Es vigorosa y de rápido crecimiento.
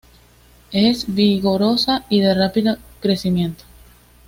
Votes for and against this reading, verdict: 2, 0, accepted